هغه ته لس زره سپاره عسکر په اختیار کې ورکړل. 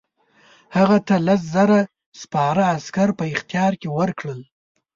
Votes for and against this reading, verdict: 6, 0, accepted